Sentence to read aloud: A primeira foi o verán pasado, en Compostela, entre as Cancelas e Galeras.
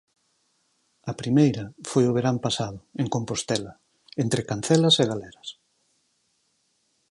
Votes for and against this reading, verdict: 2, 4, rejected